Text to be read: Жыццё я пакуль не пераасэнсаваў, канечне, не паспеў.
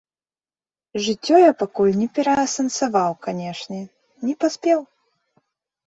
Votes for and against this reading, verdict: 2, 0, accepted